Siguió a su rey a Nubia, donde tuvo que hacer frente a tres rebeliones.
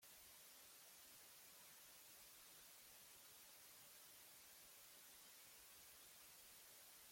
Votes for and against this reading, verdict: 1, 2, rejected